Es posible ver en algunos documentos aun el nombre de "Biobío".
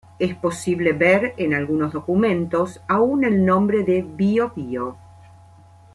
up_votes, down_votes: 2, 0